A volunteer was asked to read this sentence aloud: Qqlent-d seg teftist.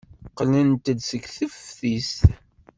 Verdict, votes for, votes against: accepted, 2, 0